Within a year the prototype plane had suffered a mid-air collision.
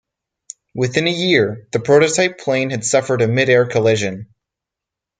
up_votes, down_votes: 4, 0